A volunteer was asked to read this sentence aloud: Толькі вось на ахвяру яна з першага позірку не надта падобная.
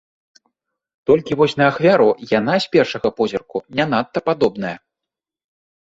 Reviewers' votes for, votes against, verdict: 2, 0, accepted